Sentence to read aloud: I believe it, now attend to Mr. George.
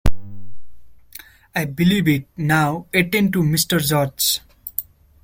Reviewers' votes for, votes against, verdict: 0, 2, rejected